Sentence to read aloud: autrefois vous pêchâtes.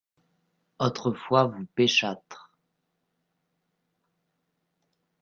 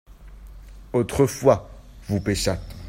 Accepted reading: second